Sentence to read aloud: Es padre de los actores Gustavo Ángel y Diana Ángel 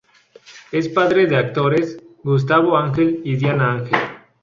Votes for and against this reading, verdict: 2, 2, rejected